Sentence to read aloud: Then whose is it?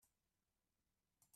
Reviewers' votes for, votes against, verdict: 0, 2, rejected